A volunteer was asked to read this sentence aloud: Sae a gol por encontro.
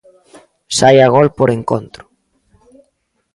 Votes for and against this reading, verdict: 2, 0, accepted